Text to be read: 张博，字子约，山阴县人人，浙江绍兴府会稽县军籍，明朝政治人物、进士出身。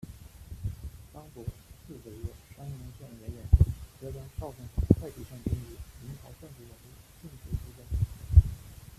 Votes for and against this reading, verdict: 0, 2, rejected